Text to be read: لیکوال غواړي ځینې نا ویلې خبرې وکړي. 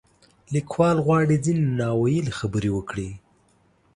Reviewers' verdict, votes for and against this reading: accepted, 2, 0